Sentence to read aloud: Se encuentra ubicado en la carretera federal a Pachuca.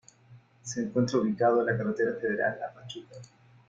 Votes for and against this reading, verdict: 2, 1, accepted